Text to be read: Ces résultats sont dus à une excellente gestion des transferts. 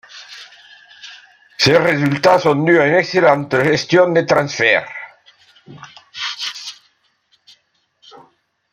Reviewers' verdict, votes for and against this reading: rejected, 1, 2